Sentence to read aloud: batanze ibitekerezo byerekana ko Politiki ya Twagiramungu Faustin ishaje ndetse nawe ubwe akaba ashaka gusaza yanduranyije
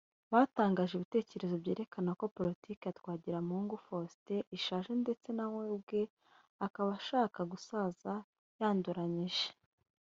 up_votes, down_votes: 0, 2